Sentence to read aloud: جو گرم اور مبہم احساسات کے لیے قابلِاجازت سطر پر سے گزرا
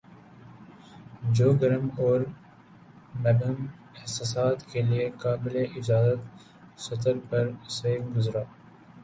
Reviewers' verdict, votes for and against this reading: accepted, 3, 1